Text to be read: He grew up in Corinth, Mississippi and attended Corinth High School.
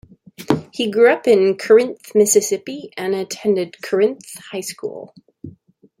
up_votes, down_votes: 0, 2